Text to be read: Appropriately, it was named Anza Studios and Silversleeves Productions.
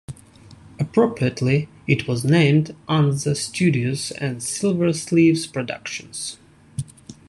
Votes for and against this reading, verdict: 2, 0, accepted